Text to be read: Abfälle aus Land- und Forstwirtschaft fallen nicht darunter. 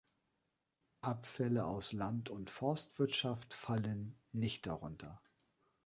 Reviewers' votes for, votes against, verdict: 2, 0, accepted